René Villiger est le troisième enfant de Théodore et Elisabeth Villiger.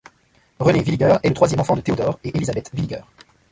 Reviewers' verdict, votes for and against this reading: rejected, 1, 2